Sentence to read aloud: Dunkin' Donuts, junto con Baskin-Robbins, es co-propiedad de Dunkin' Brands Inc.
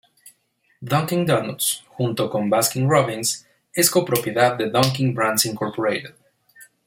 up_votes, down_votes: 2, 0